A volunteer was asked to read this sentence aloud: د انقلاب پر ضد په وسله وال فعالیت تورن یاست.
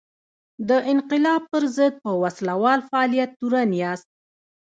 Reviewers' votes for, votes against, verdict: 1, 2, rejected